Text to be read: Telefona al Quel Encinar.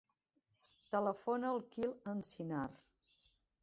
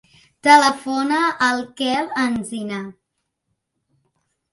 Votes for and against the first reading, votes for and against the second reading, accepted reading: 0, 2, 2, 1, second